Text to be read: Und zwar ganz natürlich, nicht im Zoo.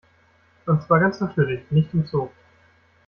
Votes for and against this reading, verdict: 2, 0, accepted